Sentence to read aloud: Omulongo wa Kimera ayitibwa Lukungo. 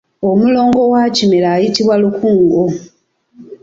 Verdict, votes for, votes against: accepted, 2, 0